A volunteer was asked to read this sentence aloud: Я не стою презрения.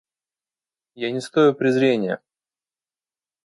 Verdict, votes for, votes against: accepted, 2, 0